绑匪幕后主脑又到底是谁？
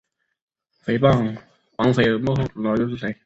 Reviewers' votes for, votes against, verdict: 1, 2, rejected